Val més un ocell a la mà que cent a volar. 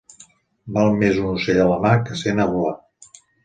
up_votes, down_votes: 2, 0